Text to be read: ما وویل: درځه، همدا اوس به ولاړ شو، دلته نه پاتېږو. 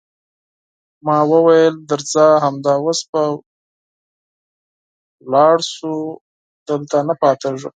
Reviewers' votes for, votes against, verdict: 4, 0, accepted